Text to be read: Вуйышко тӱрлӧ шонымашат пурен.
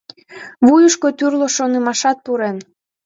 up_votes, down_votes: 2, 0